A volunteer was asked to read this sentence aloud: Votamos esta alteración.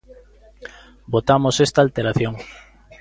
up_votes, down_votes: 2, 0